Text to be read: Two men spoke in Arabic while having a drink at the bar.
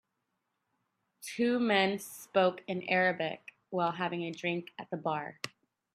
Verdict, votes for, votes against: accepted, 2, 0